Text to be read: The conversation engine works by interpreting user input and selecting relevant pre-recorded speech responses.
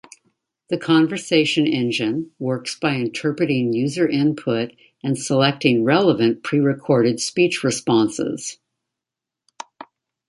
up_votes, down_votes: 2, 0